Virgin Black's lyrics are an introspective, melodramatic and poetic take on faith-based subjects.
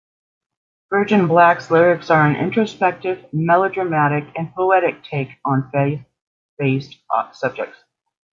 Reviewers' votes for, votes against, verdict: 1, 2, rejected